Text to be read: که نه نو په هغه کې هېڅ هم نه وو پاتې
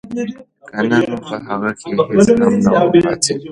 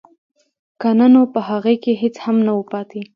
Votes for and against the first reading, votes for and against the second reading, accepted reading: 1, 3, 2, 1, second